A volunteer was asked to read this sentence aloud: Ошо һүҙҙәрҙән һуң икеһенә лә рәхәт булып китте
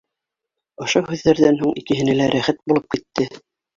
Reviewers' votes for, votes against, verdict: 2, 0, accepted